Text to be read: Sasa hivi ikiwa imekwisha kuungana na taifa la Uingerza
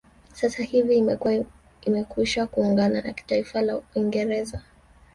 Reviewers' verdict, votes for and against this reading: rejected, 2, 3